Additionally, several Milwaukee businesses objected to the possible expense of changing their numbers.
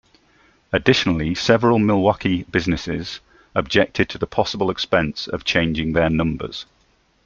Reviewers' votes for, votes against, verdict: 2, 0, accepted